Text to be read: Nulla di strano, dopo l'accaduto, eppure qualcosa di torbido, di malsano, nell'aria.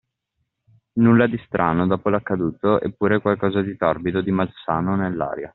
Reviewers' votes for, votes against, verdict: 2, 0, accepted